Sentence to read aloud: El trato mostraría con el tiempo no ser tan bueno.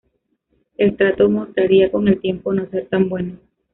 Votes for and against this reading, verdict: 1, 2, rejected